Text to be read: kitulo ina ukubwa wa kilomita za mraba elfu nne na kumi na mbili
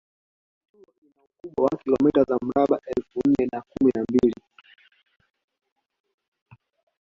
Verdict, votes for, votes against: accepted, 2, 1